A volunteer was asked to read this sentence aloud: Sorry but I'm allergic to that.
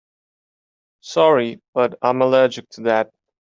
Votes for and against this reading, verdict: 2, 0, accepted